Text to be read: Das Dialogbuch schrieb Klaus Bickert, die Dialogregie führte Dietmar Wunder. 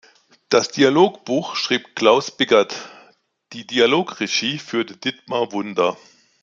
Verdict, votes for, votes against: accepted, 2, 0